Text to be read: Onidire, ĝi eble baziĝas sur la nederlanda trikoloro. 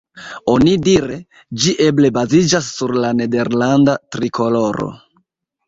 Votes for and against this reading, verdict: 1, 2, rejected